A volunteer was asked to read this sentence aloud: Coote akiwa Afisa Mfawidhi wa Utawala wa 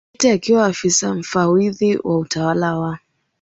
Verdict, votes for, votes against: accepted, 3, 1